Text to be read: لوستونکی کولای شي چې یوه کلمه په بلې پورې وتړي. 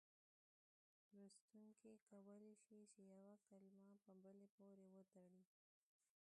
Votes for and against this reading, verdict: 1, 3, rejected